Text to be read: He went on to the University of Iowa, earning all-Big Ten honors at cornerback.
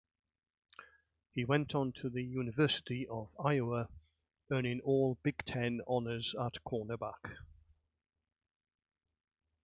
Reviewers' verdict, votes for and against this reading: accepted, 2, 0